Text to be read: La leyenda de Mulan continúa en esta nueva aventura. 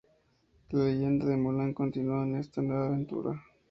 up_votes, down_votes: 2, 2